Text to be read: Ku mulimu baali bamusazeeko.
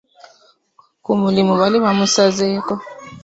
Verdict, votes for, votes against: accepted, 2, 1